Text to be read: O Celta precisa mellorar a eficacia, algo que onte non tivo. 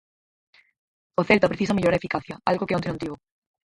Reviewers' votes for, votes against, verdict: 0, 4, rejected